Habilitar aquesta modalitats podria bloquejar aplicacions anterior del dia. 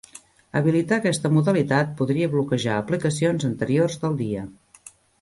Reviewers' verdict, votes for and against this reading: rejected, 1, 2